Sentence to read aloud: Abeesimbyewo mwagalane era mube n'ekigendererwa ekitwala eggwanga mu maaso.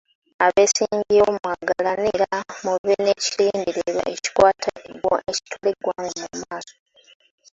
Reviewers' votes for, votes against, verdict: 1, 2, rejected